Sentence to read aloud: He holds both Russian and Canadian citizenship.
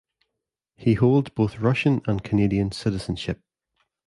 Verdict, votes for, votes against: accepted, 2, 0